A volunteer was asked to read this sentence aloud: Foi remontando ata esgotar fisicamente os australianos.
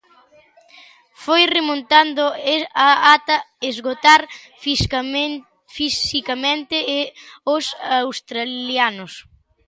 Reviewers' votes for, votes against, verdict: 0, 2, rejected